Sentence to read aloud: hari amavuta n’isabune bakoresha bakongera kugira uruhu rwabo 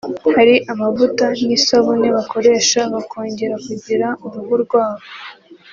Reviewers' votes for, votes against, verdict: 2, 0, accepted